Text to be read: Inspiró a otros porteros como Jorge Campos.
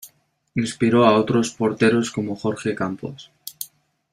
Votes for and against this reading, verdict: 2, 0, accepted